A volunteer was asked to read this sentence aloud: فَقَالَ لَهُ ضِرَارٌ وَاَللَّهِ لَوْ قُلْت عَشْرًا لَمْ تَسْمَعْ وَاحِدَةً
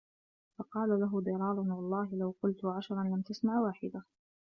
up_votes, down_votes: 2, 0